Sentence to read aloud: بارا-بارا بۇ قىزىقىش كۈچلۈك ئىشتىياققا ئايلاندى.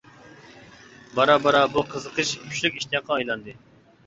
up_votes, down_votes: 2, 0